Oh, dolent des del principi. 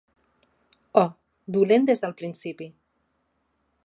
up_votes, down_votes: 3, 0